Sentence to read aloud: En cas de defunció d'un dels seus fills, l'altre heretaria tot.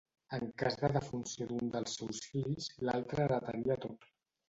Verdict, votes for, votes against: rejected, 0, 2